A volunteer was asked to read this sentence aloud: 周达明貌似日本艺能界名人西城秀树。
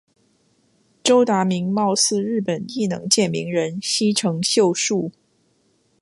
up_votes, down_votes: 2, 0